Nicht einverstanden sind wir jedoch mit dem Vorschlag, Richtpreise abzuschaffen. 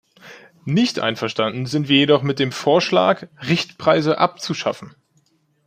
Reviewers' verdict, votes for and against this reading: accepted, 2, 0